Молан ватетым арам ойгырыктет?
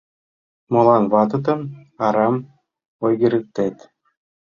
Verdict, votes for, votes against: rejected, 1, 2